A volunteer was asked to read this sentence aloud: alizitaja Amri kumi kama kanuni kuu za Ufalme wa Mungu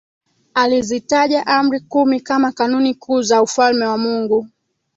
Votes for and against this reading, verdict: 2, 1, accepted